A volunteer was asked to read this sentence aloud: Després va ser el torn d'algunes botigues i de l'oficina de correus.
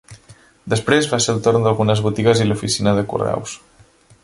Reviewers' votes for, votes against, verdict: 0, 2, rejected